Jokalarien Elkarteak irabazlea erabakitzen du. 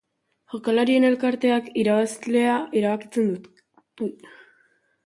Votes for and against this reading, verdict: 1, 2, rejected